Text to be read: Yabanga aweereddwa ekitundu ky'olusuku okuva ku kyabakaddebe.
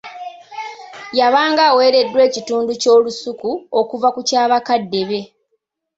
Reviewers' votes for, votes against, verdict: 2, 0, accepted